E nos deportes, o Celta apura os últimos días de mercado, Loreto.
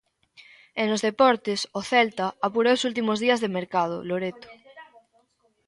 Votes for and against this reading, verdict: 0, 2, rejected